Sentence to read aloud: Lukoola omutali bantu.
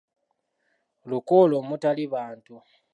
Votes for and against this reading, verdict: 1, 2, rejected